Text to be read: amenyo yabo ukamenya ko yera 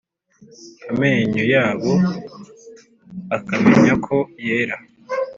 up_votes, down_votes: 0, 2